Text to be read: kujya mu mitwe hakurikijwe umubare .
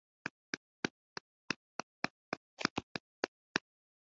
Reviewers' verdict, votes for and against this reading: rejected, 1, 2